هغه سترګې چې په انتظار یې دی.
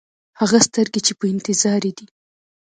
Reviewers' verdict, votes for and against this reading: rejected, 1, 2